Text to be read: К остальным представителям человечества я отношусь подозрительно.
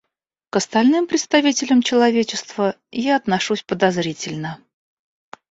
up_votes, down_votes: 2, 0